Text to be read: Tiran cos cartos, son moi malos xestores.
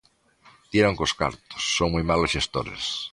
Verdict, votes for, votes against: rejected, 1, 2